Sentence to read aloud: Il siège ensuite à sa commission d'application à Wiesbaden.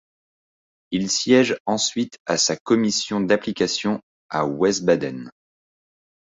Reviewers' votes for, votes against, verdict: 0, 2, rejected